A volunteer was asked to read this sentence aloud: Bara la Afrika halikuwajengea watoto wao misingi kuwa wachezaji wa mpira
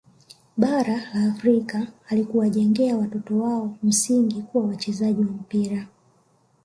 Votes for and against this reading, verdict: 1, 2, rejected